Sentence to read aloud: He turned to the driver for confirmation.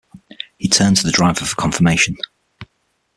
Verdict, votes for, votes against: accepted, 6, 0